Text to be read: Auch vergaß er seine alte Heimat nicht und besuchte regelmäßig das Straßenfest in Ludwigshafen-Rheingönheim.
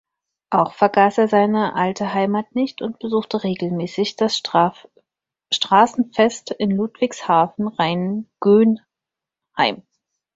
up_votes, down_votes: 0, 4